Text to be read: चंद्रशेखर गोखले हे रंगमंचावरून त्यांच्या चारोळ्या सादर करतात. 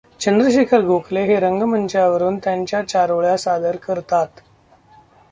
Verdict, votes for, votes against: rejected, 1, 2